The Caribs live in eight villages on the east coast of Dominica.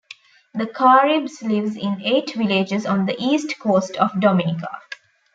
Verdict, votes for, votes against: rejected, 1, 2